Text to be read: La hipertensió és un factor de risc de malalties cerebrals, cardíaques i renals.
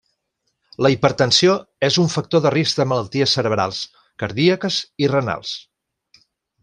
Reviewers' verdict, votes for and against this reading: accepted, 2, 0